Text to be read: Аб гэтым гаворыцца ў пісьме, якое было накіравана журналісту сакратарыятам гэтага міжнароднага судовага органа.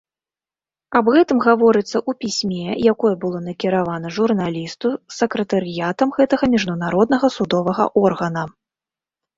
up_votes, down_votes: 1, 2